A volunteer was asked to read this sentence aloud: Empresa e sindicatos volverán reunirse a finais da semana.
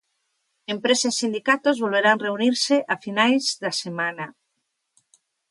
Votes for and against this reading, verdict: 2, 0, accepted